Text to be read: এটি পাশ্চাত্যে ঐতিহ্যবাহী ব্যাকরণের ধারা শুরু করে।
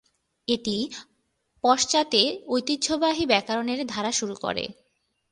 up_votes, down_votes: 3, 2